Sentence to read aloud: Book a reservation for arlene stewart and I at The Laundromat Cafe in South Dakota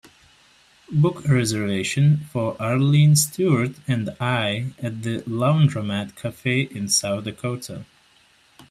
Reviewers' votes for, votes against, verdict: 2, 0, accepted